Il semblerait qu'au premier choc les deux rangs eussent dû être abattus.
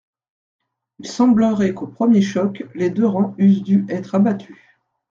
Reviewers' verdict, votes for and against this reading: accepted, 2, 0